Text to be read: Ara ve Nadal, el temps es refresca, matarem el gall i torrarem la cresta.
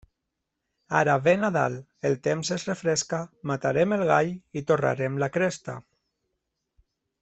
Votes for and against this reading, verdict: 2, 0, accepted